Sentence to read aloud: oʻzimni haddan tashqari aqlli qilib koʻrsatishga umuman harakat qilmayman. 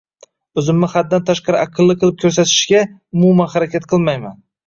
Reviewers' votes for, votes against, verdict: 1, 2, rejected